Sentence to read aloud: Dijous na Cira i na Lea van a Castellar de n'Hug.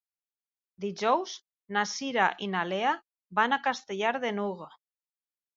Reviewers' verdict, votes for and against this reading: accepted, 2, 0